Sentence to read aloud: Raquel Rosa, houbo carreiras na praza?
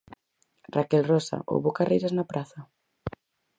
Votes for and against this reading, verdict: 4, 0, accepted